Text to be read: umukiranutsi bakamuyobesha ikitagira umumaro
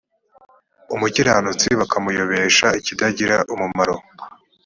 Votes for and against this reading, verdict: 3, 0, accepted